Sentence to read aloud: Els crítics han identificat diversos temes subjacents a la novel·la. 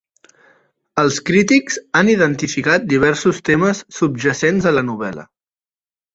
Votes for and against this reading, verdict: 2, 0, accepted